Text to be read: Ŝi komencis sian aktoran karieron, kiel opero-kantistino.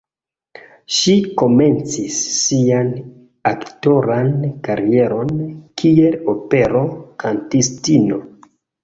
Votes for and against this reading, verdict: 2, 0, accepted